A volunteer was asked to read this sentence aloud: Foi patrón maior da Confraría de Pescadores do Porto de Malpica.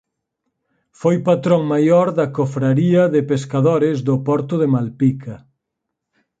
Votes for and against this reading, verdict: 2, 4, rejected